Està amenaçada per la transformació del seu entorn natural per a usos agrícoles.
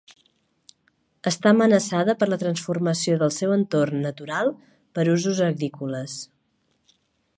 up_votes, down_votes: 1, 2